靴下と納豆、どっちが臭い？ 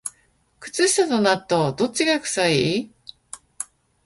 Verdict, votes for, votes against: accepted, 2, 0